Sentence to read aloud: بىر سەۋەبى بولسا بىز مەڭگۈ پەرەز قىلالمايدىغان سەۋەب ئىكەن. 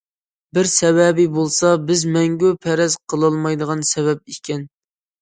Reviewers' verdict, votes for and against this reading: accepted, 2, 0